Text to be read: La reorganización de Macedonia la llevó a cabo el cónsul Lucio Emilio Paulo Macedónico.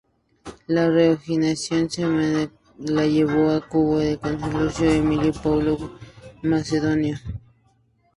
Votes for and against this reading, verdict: 0, 4, rejected